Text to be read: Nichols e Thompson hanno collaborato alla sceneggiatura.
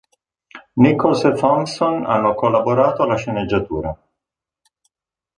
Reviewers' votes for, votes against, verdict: 2, 0, accepted